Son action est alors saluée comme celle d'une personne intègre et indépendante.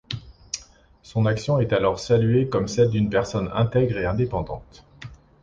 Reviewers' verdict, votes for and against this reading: accepted, 2, 0